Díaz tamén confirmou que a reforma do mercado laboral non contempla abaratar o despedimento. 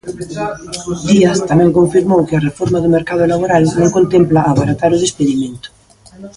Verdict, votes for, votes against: accepted, 2, 1